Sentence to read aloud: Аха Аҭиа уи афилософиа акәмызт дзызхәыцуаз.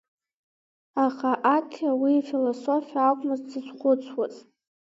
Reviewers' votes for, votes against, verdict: 2, 1, accepted